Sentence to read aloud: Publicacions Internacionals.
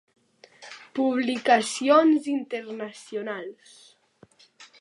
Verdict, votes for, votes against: accepted, 2, 0